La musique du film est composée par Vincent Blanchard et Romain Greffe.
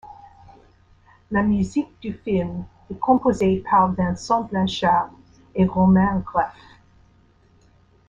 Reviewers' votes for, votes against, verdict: 2, 1, accepted